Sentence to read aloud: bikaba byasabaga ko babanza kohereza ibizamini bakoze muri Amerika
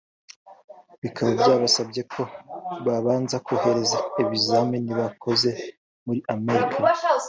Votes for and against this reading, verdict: 3, 2, accepted